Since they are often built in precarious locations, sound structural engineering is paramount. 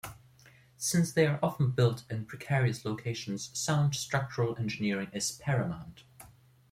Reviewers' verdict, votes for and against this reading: accepted, 2, 0